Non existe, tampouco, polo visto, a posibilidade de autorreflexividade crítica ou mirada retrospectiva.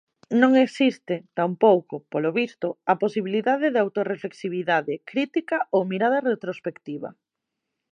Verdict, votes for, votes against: accepted, 2, 0